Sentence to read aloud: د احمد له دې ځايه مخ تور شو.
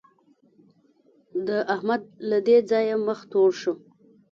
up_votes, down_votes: 1, 2